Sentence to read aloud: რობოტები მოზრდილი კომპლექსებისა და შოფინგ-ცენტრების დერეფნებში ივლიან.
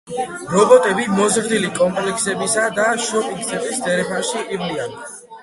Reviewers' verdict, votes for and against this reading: rejected, 0, 2